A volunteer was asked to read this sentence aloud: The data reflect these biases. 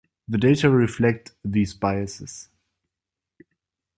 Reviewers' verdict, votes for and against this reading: accepted, 2, 1